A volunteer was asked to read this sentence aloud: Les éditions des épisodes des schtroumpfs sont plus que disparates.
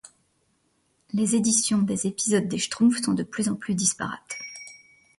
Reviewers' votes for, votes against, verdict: 1, 2, rejected